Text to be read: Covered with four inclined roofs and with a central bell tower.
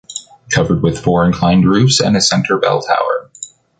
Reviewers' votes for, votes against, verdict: 0, 2, rejected